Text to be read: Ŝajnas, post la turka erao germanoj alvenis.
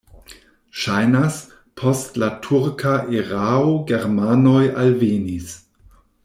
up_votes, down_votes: 2, 0